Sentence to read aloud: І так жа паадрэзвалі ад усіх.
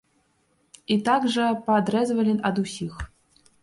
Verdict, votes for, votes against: accepted, 3, 0